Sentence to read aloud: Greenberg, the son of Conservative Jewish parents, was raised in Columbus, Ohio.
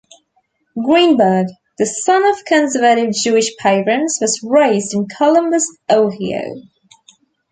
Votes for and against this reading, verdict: 1, 2, rejected